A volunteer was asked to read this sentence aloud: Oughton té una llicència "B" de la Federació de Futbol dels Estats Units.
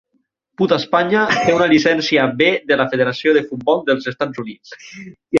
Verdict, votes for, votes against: rejected, 0, 6